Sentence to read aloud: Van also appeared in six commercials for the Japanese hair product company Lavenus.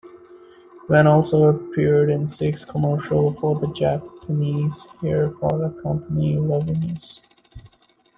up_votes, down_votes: 0, 2